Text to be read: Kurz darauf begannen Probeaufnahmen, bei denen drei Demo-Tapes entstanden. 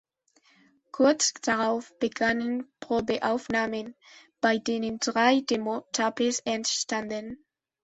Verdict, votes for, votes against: accepted, 2, 0